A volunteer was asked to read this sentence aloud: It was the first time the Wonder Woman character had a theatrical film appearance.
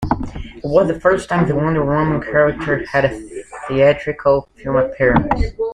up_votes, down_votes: 2, 0